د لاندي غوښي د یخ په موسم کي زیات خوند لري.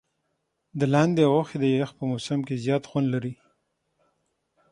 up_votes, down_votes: 6, 3